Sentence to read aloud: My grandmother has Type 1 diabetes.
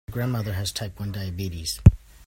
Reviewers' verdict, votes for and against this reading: rejected, 0, 2